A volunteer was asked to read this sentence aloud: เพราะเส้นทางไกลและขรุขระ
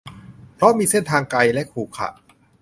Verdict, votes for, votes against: rejected, 0, 2